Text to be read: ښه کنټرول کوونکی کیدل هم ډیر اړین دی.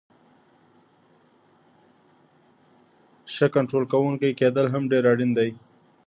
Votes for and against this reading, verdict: 1, 2, rejected